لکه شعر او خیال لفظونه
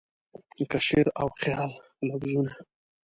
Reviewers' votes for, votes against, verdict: 2, 1, accepted